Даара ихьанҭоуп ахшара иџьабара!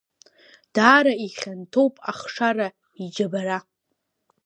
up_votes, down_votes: 2, 0